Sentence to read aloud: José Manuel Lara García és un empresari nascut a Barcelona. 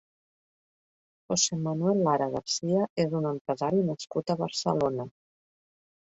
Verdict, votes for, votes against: rejected, 1, 2